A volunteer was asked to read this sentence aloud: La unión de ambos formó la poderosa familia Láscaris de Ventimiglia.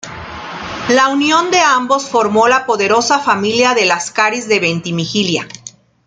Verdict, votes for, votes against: rejected, 0, 2